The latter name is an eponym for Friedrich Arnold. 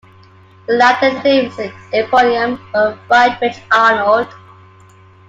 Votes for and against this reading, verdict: 0, 2, rejected